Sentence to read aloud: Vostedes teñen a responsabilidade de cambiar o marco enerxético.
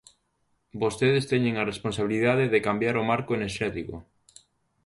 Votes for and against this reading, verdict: 2, 0, accepted